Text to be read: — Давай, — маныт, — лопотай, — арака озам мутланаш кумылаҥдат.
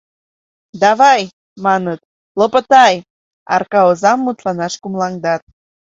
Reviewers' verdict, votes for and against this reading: accepted, 2, 0